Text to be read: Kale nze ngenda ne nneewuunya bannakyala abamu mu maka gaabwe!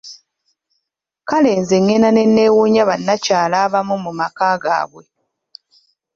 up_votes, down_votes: 2, 1